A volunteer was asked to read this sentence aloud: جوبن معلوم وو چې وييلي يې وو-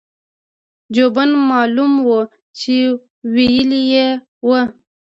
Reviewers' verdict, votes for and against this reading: rejected, 1, 2